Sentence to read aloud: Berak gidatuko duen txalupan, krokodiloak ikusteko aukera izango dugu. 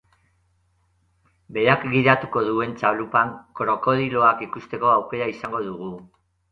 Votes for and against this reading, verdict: 0, 2, rejected